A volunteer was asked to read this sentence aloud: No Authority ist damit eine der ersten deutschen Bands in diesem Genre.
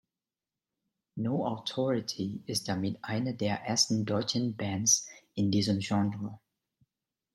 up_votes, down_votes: 1, 2